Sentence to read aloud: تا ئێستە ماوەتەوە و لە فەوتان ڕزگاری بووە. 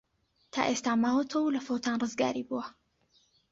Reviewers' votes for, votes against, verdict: 3, 0, accepted